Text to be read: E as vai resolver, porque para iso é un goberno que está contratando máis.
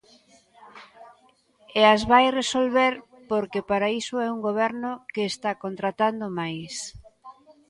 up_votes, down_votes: 0, 2